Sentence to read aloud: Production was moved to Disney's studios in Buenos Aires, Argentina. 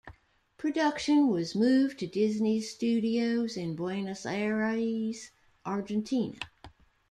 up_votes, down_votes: 2, 0